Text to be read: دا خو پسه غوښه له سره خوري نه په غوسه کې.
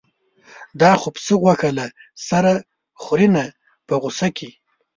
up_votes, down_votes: 1, 2